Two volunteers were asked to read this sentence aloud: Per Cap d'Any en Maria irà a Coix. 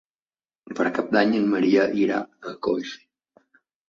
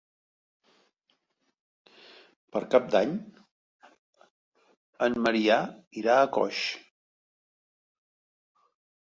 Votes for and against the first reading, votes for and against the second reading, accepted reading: 3, 1, 0, 2, first